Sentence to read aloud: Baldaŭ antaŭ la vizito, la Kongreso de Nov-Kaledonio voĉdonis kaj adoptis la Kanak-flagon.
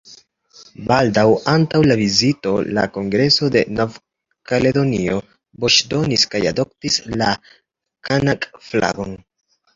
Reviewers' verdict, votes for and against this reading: accepted, 2, 0